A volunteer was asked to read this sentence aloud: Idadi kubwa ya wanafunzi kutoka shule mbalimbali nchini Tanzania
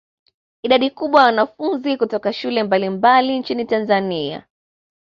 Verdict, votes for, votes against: accepted, 2, 0